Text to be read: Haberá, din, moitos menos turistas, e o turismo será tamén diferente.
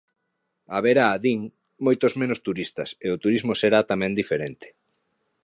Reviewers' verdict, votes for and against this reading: accepted, 2, 0